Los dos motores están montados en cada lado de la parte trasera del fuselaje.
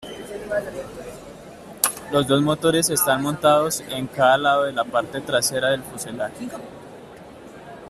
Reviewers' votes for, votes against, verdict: 2, 1, accepted